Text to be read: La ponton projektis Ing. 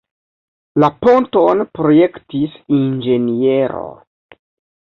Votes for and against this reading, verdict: 1, 2, rejected